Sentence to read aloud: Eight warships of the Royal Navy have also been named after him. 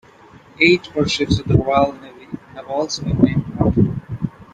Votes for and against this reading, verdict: 2, 1, accepted